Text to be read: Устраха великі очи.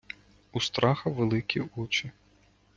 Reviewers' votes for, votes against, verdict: 2, 0, accepted